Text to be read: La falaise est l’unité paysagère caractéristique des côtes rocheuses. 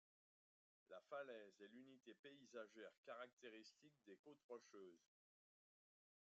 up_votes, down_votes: 0, 2